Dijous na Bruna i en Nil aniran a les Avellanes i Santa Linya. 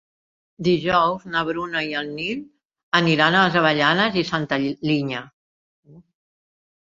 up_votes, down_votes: 1, 2